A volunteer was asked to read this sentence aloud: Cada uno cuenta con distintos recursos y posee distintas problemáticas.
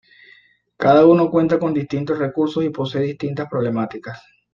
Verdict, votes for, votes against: accepted, 2, 0